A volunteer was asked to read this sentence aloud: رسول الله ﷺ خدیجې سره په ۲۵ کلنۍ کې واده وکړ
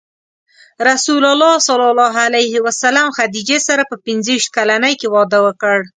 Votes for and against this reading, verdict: 0, 2, rejected